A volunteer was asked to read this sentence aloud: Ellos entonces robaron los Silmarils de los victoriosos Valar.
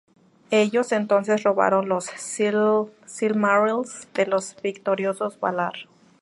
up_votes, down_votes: 0, 2